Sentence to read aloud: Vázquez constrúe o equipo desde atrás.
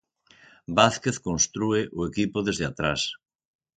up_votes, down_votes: 6, 0